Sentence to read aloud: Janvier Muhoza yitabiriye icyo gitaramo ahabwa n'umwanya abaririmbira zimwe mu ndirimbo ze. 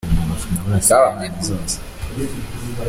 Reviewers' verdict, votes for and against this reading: rejected, 0, 2